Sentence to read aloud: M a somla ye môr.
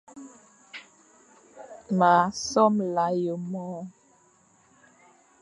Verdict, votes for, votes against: accepted, 2, 0